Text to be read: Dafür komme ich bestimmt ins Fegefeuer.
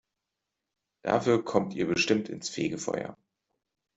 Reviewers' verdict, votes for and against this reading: rejected, 0, 2